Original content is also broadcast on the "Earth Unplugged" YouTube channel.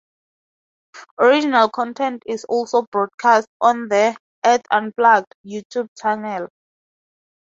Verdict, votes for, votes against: rejected, 2, 2